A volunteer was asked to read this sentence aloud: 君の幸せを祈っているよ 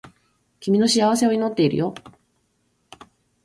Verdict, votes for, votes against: accepted, 2, 0